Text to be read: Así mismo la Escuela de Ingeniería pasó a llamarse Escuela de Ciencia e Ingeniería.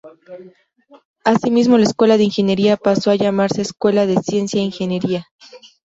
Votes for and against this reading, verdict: 2, 0, accepted